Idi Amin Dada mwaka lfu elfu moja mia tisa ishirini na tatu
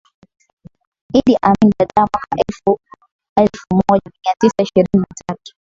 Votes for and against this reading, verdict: 3, 6, rejected